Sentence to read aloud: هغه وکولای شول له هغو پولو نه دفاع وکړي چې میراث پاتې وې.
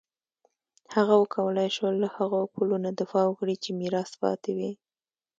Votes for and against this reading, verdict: 1, 2, rejected